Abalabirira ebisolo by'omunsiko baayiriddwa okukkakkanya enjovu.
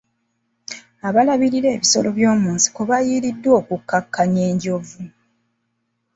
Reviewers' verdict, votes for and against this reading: accepted, 2, 0